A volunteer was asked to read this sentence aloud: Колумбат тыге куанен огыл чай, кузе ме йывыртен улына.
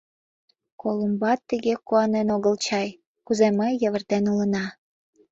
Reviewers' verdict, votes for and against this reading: rejected, 1, 2